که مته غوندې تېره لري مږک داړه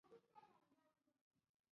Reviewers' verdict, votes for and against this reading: rejected, 0, 2